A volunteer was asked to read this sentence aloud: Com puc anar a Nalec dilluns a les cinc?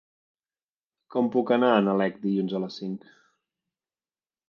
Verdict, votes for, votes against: accepted, 3, 0